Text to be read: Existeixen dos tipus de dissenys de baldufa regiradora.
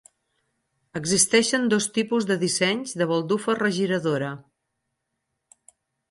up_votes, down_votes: 10, 0